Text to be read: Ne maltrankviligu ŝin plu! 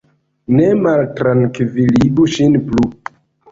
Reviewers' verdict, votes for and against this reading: accepted, 2, 0